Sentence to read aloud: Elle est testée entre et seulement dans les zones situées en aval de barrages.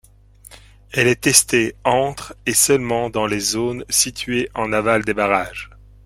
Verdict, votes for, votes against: rejected, 1, 2